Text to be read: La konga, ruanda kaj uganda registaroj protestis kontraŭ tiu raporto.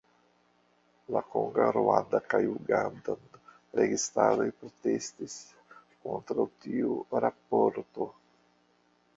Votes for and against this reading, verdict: 0, 2, rejected